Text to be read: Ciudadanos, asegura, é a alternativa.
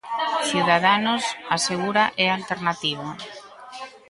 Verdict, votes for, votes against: rejected, 1, 2